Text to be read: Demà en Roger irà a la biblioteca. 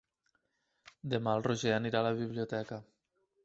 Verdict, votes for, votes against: rejected, 1, 2